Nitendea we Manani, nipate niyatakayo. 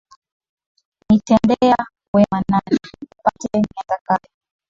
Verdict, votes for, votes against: rejected, 0, 2